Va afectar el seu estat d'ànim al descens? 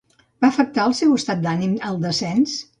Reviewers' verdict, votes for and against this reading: accepted, 2, 0